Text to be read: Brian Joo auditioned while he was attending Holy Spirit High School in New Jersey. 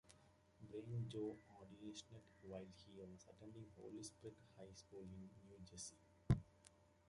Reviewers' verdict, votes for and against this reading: rejected, 0, 2